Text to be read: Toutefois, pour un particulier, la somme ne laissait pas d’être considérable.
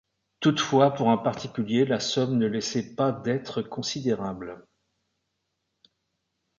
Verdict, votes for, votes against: accepted, 2, 0